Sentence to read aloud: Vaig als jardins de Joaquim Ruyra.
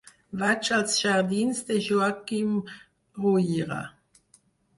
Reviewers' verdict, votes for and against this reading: accepted, 4, 2